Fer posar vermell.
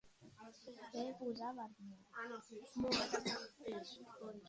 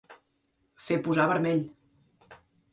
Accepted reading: second